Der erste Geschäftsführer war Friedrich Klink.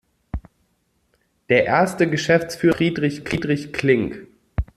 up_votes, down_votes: 0, 2